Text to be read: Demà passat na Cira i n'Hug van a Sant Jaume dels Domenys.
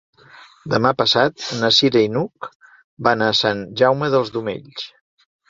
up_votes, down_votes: 2, 0